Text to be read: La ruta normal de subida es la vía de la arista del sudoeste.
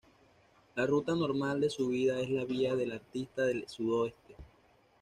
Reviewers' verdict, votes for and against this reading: rejected, 1, 2